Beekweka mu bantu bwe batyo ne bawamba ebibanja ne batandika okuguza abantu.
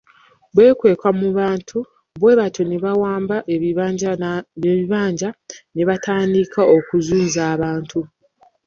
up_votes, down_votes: 0, 2